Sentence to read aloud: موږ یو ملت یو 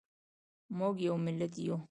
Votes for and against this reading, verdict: 2, 0, accepted